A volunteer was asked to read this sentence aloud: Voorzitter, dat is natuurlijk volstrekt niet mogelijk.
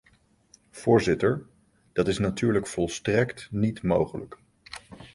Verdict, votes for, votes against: accepted, 2, 0